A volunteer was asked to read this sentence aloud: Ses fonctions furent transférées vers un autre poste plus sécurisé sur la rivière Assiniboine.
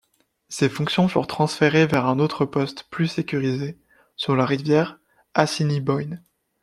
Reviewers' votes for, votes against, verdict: 1, 2, rejected